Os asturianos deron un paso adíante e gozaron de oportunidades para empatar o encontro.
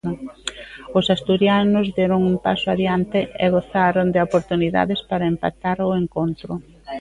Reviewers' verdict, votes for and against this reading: accepted, 2, 0